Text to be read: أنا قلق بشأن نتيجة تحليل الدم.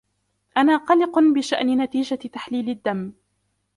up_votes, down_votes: 2, 0